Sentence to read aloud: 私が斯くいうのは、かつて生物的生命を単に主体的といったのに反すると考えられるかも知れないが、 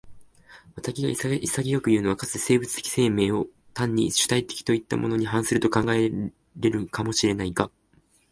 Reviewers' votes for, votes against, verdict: 3, 4, rejected